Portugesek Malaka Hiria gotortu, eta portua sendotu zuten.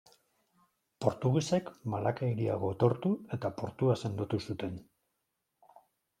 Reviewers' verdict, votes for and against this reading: accepted, 2, 0